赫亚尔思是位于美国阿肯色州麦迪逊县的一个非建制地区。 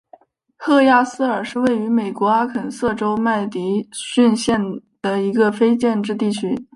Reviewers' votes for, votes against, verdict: 3, 0, accepted